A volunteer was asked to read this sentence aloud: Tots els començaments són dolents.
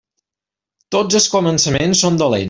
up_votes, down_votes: 1, 2